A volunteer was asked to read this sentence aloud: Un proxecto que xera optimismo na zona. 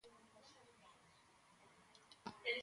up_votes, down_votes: 0, 2